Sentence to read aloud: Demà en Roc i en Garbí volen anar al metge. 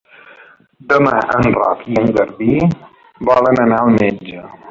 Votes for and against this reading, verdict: 3, 0, accepted